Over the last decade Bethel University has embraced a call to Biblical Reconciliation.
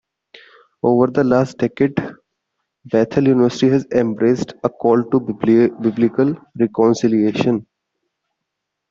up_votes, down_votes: 1, 2